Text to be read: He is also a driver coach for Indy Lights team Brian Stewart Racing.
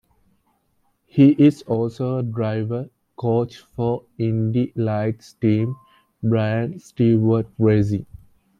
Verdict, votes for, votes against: accepted, 2, 0